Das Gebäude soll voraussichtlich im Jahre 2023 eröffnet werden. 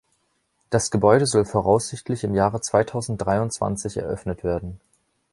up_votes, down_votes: 0, 2